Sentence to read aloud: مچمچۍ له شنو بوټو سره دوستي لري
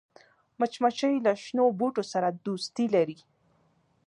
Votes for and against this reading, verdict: 2, 1, accepted